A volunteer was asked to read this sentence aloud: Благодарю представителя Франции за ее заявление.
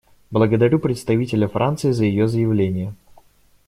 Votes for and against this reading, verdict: 2, 0, accepted